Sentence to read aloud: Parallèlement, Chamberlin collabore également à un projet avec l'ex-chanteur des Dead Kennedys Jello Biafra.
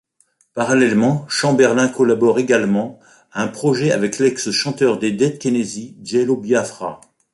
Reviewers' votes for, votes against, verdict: 1, 2, rejected